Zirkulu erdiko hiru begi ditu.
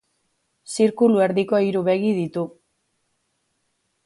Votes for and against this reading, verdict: 2, 0, accepted